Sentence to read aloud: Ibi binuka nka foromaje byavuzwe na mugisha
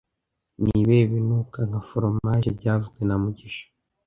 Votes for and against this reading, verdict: 1, 2, rejected